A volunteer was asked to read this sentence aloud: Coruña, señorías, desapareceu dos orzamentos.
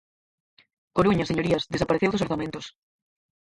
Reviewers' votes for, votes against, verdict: 2, 4, rejected